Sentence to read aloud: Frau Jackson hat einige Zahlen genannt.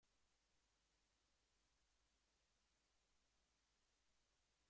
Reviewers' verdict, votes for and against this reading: rejected, 0, 2